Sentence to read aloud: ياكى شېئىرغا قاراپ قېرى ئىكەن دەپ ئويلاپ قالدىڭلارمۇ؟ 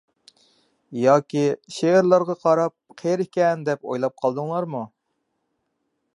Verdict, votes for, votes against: accepted, 2, 1